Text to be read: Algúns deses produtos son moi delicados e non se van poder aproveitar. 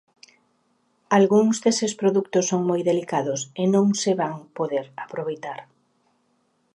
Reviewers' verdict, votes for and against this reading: accepted, 2, 0